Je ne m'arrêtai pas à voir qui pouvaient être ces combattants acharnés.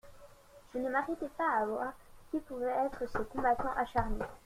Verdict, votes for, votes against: rejected, 0, 2